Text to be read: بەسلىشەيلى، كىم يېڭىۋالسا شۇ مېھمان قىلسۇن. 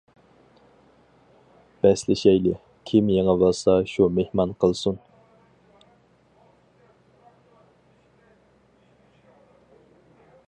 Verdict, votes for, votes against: accepted, 4, 0